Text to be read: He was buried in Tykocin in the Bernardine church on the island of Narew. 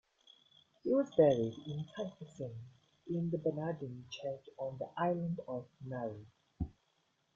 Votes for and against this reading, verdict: 0, 2, rejected